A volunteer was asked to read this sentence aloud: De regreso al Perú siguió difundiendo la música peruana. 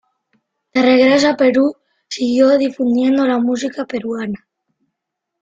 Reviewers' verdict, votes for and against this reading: accepted, 2, 1